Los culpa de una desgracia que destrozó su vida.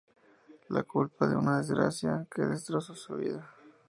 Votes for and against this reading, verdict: 0, 2, rejected